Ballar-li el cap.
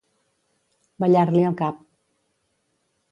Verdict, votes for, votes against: accepted, 2, 0